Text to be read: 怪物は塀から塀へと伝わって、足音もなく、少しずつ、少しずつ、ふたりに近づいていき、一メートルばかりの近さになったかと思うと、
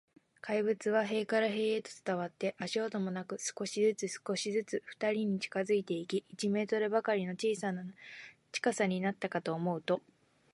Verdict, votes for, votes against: accepted, 3, 1